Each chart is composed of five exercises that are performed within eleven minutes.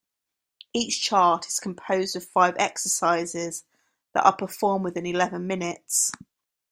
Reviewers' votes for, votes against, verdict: 2, 0, accepted